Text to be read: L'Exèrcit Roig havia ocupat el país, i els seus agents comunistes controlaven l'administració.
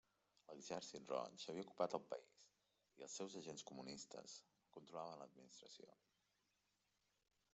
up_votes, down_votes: 1, 3